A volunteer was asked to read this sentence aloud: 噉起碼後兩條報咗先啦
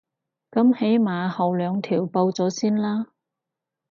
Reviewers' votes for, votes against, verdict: 6, 0, accepted